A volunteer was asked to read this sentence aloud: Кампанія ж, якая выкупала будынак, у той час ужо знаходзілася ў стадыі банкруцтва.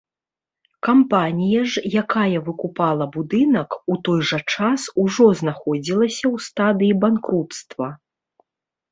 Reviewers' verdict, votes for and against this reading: rejected, 1, 2